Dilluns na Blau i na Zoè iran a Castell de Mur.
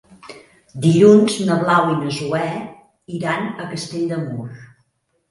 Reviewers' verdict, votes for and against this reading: accepted, 3, 0